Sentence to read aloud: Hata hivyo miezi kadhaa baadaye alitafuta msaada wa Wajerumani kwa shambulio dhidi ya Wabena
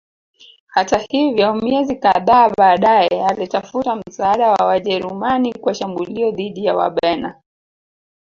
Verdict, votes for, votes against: accepted, 2, 1